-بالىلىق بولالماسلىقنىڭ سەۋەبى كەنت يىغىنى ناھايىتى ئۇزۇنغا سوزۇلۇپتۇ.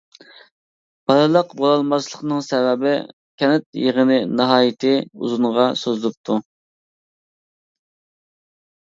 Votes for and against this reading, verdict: 2, 0, accepted